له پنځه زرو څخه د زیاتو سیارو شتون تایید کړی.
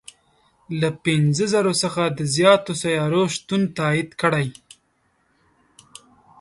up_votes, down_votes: 3, 1